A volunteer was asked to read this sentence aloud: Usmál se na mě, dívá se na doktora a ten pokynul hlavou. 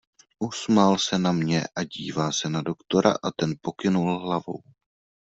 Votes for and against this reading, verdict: 1, 2, rejected